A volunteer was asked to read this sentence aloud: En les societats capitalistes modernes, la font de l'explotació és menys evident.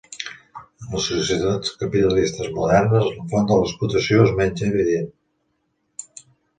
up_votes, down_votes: 3, 1